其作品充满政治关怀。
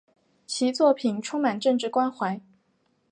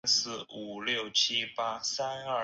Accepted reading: first